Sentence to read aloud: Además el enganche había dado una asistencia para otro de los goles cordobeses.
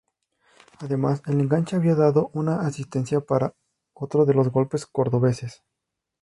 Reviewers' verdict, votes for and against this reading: rejected, 2, 2